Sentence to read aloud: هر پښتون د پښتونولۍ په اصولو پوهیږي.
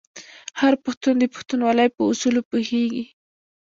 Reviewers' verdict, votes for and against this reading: accepted, 2, 1